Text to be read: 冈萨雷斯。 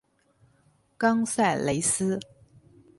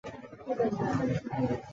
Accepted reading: first